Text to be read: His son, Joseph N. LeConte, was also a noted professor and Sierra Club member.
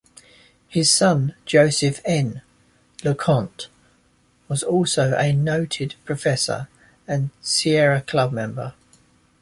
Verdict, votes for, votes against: accepted, 2, 0